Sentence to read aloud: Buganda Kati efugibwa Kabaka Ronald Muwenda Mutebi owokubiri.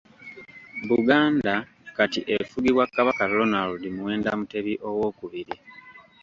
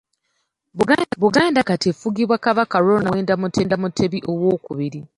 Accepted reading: first